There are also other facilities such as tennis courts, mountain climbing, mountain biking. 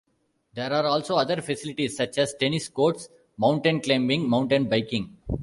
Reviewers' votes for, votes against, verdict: 2, 0, accepted